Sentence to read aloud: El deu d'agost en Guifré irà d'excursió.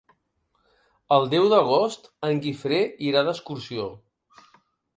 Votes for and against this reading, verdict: 4, 0, accepted